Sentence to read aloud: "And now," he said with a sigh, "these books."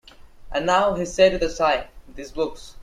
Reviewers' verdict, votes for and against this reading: accepted, 2, 1